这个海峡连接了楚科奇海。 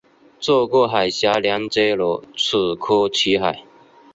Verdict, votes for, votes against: accepted, 4, 0